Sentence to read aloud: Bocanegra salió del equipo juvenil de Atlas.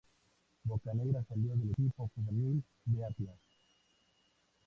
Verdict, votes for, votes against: accepted, 2, 0